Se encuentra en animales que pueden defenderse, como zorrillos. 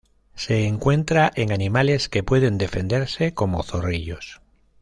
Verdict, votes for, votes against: accepted, 2, 0